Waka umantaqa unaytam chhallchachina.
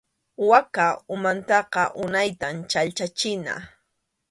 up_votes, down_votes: 2, 0